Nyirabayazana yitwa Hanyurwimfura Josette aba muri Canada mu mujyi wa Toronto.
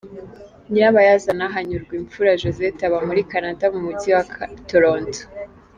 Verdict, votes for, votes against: rejected, 0, 2